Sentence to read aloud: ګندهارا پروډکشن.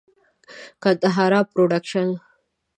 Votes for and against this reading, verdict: 2, 0, accepted